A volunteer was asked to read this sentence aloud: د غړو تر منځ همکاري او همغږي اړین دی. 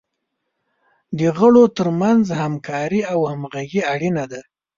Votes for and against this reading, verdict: 2, 1, accepted